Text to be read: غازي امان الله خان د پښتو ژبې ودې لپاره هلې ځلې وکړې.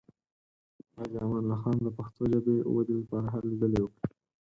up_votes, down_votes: 2, 4